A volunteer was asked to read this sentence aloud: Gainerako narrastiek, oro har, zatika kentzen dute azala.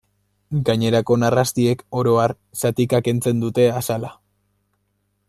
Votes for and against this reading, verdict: 2, 0, accepted